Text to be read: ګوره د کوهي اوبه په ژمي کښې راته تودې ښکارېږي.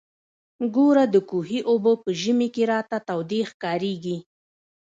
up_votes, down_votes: 0, 2